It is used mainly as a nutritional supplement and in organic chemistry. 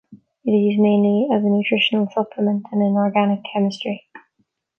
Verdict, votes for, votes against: rejected, 1, 2